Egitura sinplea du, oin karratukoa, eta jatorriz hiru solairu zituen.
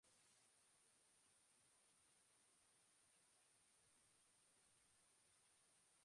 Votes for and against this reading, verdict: 0, 2, rejected